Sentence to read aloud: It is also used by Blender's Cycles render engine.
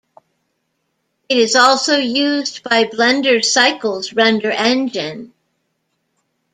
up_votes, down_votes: 2, 0